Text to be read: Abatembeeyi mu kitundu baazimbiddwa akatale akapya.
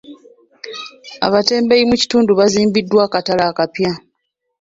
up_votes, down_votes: 3, 2